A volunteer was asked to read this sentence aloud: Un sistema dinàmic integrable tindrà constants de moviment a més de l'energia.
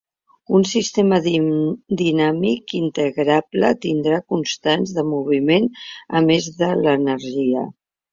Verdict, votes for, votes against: rejected, 0, 2